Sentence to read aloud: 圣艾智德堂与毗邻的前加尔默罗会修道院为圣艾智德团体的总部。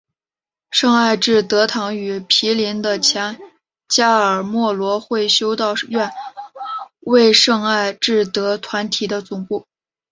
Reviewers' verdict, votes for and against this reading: accepted, 2, 0